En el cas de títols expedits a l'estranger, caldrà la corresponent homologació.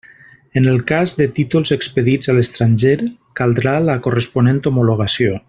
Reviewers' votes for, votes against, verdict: 3, 0, accepted